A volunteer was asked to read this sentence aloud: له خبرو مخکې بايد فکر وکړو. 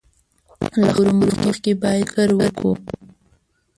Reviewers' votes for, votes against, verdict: 1, 2, rejected